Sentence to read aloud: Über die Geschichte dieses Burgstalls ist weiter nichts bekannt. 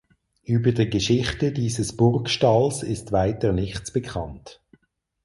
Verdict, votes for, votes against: accepted, 4, 2